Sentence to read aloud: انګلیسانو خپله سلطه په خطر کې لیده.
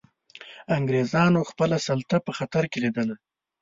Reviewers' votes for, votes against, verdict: 2, 1, accepted